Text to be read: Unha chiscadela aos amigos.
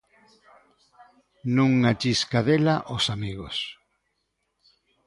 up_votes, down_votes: 0, 2